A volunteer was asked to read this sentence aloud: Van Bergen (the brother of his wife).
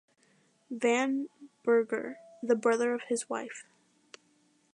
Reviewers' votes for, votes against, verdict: 2, 0, accepted